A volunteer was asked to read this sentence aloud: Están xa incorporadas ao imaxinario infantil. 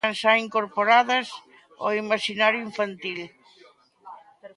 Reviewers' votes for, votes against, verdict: 1, 2, rejected